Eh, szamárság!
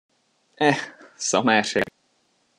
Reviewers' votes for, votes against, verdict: 0, 2, rejected